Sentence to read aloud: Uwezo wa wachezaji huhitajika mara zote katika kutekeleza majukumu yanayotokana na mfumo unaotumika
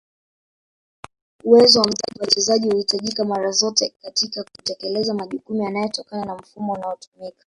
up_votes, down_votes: 0, 2